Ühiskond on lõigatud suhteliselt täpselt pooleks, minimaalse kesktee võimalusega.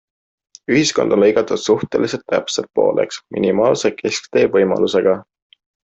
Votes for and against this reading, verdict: 2, 0, accepted